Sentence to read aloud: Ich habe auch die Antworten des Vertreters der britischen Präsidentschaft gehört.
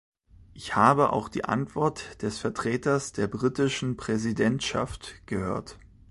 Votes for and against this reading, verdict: 0, 2, rejected